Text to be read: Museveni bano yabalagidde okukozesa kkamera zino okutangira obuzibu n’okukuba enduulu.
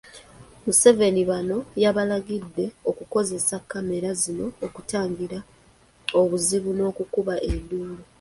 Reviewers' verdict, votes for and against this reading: accepted, 3, 0